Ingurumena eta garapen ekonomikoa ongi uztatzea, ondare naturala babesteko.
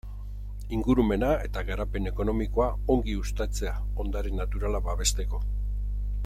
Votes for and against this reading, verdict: 2, 0, accepted